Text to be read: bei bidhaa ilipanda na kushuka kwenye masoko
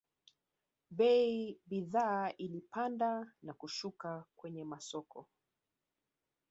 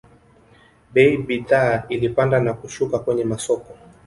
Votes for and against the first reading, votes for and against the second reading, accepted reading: 2, 0, 0, 2, first